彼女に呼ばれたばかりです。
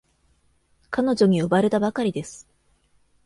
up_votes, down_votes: 2, 0